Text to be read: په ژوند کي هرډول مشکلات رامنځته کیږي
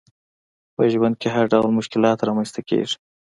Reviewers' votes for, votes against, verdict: 2, 0, accepted